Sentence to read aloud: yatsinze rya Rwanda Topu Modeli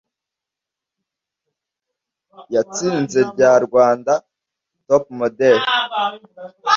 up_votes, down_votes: 1, 2